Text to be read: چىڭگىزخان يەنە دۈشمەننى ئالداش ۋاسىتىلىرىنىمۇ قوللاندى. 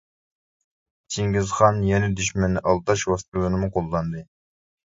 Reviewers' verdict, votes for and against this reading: rejected, 0, 2